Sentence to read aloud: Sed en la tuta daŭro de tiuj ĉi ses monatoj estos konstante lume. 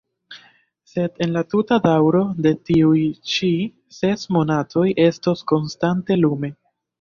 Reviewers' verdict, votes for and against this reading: accepted, 2, 0